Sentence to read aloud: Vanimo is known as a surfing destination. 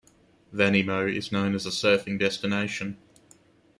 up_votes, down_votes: 2, 0